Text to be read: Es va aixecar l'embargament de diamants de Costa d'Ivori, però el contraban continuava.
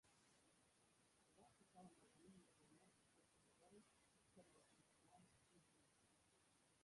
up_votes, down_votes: 0, 2